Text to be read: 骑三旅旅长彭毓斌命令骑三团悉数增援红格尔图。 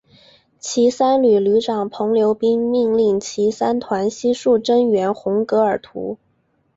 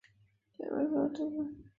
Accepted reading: first